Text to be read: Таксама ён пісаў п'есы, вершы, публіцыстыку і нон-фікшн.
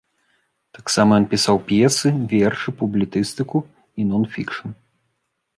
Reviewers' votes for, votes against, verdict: 0, 2, rejected